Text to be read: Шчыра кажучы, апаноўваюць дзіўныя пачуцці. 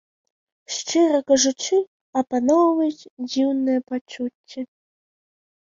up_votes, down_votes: 1, 2